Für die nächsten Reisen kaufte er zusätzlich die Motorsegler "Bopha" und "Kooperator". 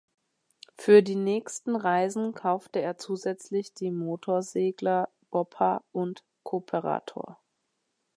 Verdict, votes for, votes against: accepted, 2, 0